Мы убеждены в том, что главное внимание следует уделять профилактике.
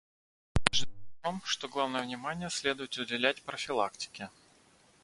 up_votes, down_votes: 0, 2